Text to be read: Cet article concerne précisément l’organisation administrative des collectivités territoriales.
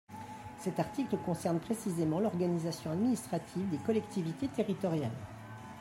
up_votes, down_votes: 2, 1